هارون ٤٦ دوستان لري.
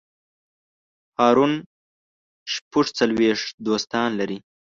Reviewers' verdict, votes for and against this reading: rejected, 0, 2